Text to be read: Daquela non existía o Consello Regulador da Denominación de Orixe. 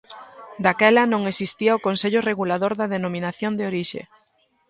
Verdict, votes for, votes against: accepted, 2, 0